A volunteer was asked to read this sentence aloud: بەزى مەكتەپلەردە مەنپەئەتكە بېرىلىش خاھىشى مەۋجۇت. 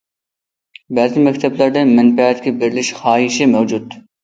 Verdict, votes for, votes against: accepted, 2, 0